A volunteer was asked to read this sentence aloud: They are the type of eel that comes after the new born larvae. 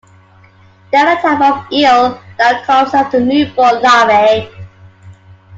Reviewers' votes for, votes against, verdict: 0, 2, rejected